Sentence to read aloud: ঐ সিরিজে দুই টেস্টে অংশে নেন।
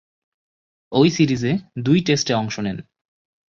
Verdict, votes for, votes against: accepted, 2, 1